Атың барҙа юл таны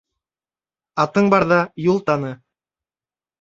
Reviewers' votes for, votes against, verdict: 2, 0, accepted